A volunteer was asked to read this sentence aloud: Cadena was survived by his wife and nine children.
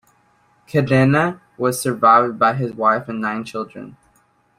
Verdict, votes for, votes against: accepted, 2, 0